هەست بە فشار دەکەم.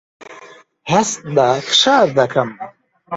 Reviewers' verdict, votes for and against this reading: rejected, 1, 2